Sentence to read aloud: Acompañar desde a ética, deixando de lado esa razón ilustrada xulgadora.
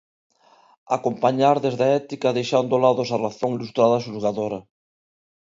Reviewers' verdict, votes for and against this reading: rejected, 0, 2